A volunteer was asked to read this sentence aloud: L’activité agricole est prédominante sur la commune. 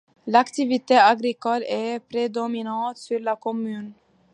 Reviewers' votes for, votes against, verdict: 2, 0, accepted